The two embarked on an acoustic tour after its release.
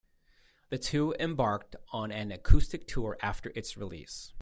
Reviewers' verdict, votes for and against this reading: accepted, 2, 0